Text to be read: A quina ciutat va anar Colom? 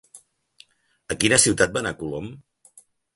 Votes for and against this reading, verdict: 3, 0, accepted